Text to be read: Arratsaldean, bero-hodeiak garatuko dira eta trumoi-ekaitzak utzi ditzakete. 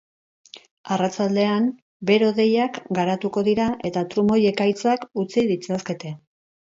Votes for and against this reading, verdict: 0, 2, rejected